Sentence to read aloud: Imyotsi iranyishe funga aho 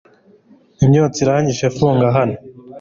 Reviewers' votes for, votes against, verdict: 2, 1, accepted